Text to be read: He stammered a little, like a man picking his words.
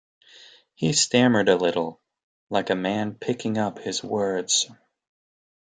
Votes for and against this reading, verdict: 0, 2, rejected